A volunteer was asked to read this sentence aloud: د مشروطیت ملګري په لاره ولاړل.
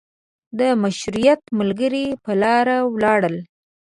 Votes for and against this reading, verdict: 0, 2, rejected